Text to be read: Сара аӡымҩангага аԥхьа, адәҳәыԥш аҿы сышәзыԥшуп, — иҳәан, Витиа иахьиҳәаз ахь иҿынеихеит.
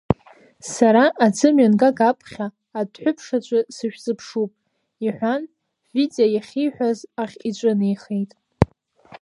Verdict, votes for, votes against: rejected, 1, 2